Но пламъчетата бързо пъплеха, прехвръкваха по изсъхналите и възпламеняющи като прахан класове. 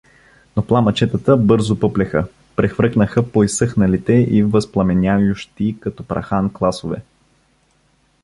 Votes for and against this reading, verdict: 1, 2, rejected